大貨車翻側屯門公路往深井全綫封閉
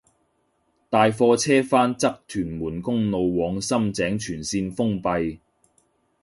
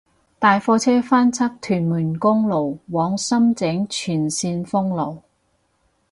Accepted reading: first